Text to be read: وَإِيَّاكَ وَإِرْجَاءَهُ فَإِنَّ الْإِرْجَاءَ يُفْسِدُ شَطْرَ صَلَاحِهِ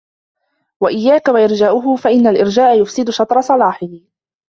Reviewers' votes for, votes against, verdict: 0, 2, rejected